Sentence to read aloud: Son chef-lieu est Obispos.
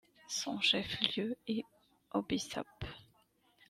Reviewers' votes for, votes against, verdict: 0, 2, rejected